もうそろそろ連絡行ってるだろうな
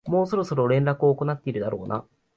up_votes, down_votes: 0, 2